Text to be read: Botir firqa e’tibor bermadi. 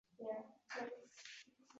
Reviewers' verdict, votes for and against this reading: rejected, 0, 2